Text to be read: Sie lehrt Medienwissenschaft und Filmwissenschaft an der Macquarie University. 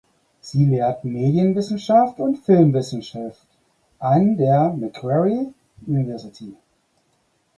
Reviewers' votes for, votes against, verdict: 4, 0, accepted